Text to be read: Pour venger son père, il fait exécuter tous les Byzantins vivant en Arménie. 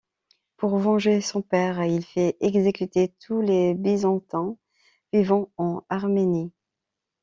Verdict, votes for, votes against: rejected, 1, 2